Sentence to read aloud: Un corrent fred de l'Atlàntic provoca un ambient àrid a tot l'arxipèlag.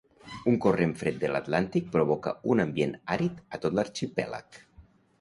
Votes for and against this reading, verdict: 2, 0, accepted